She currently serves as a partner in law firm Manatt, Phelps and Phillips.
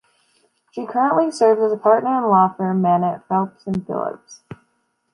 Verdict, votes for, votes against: accepted, 2, 0